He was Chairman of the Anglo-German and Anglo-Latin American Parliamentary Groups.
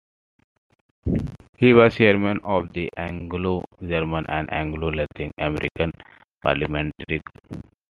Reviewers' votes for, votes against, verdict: 0, 2, rejected